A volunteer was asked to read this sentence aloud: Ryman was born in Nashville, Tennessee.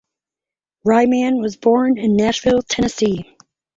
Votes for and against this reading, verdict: 4, 0, accepted